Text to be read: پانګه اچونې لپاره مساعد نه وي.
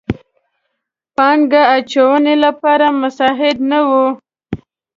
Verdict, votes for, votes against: accepted, 2, 0